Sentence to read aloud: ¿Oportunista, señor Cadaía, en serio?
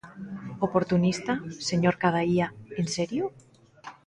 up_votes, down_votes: 2, 0